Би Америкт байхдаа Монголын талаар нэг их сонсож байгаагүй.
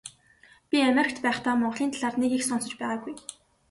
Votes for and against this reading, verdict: 2, 0, accepted